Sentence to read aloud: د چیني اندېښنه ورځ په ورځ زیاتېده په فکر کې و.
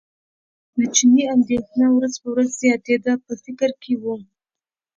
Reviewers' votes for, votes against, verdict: 2, 0, accepted